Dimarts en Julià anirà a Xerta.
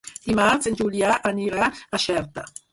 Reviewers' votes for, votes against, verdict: 4, 0, accepted